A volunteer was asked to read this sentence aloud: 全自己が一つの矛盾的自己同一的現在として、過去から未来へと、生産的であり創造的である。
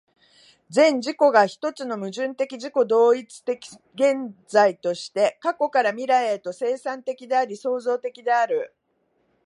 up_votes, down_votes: 1, 2